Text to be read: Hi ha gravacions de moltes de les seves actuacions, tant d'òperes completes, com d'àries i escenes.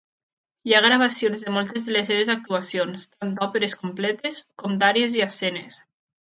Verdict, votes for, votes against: accepted, 2, 0